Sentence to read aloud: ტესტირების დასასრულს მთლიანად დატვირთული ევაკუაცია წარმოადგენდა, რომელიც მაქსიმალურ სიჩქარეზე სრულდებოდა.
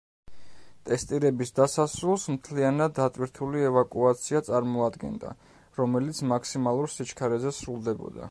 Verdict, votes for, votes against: accepted, 2, 0